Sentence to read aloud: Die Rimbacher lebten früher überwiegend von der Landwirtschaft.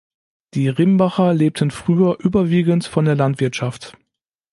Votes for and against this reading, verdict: 2, 0, accepted